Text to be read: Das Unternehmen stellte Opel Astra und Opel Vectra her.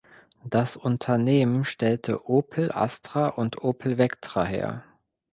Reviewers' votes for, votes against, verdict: 2, 0, accepted